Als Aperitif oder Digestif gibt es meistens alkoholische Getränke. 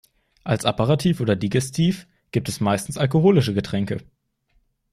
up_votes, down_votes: 2, 0